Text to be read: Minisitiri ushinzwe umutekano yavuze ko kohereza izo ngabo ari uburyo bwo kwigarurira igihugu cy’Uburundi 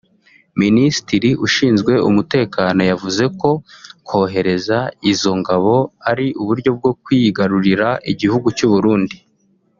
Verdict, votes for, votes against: rejected, 1, 2